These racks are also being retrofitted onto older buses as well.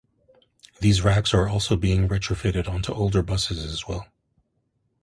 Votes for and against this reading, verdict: 0, 2, rejected